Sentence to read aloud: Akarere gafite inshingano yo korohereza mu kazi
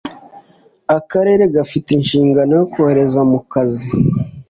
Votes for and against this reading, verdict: 2, 0, accepted